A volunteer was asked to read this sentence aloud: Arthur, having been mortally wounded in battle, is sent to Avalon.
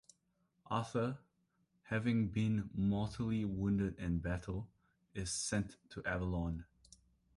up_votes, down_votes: 2, 0